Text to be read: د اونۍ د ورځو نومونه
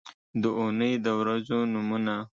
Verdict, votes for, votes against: accepted, 3, 0